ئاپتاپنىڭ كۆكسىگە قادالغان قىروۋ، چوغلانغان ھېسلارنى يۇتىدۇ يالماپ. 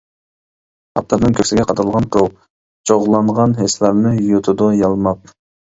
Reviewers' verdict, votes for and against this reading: rejected, 0, 2